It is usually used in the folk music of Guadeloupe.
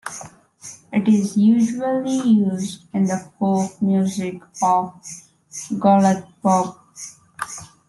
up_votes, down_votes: 0, 2